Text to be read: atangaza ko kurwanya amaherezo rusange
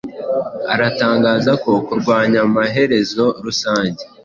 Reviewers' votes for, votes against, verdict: 2, 0, accepted